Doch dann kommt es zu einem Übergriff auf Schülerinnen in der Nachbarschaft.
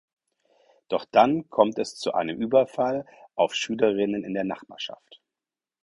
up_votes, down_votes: 0, 4